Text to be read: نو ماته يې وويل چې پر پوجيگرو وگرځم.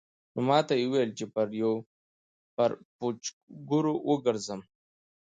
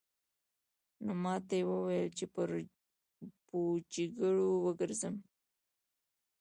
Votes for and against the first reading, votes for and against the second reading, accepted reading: 2, 1, 0, 2, first